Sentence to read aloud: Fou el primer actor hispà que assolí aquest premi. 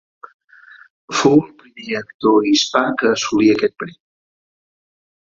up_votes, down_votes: 2, 4